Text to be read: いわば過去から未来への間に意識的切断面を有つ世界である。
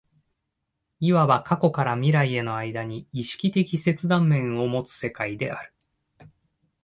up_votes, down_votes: 2, 1